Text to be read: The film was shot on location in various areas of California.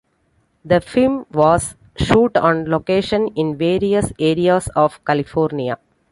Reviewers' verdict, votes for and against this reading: accepted, 2, 1